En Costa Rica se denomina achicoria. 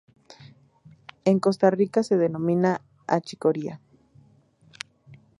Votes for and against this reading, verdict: 0, 2, rejected